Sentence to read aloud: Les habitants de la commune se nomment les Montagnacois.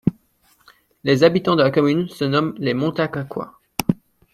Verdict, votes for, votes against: accepted, 2, 0